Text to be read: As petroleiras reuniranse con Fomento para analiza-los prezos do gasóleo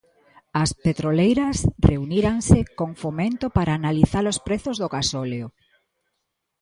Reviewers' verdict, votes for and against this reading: rejected, 1, 2